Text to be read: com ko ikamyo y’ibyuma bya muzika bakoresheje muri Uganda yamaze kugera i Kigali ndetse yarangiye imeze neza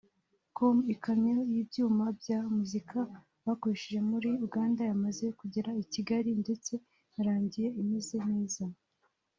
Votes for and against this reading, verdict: 0, 2, rejected